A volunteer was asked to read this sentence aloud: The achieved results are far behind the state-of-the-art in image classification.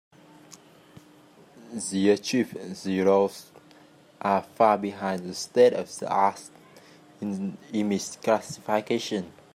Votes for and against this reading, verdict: 2, 3, rejected